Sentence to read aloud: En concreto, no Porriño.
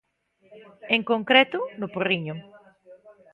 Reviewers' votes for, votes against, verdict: 1, 2, rejected